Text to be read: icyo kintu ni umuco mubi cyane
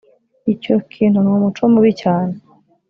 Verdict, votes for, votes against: accepted, 3, 0